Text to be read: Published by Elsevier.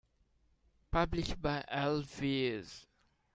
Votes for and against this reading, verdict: 0, 2, rejected